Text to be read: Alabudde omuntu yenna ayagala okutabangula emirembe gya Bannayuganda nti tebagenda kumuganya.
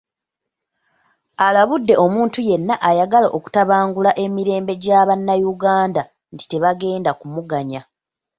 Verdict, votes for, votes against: rejected, 0, 2